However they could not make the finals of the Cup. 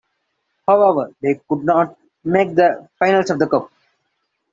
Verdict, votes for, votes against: accepted, 2, 1